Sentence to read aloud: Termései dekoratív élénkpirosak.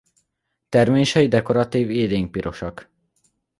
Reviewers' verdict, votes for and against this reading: accepted, 2, 1